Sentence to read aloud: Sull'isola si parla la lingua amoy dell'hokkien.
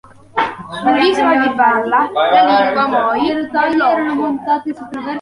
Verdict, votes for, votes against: rejected, 0, 2